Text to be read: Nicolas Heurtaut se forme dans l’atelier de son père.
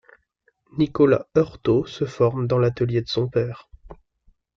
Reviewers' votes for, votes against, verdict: 2, 0, accepted